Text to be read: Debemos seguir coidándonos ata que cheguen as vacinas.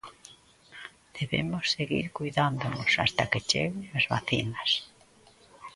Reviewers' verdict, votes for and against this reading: accepted, 2, 1